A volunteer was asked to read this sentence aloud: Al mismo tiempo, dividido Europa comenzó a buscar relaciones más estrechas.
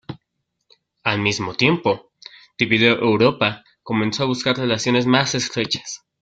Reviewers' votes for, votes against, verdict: 2, 0, accepted